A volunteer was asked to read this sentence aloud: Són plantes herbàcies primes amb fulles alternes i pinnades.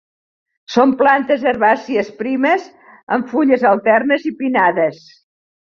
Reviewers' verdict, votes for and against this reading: accepted, 2, 0